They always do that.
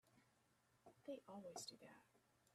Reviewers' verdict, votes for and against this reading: rejected, 0, 2